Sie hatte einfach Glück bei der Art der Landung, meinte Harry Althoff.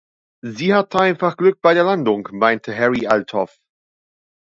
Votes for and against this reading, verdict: 1, 2, rejected